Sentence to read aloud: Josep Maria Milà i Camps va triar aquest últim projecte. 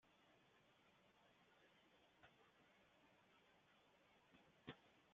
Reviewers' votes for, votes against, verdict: 0, 2, rejected